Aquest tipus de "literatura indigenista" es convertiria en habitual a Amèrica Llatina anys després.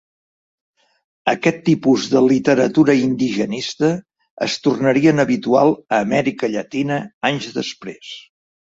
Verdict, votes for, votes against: rejected, 0, 2